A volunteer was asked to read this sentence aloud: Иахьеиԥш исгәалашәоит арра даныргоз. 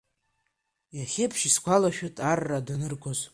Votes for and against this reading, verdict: 0, 2, rejected